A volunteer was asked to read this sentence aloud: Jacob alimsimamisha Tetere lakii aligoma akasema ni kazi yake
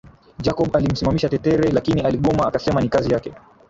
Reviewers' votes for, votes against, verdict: 3, 2, accepted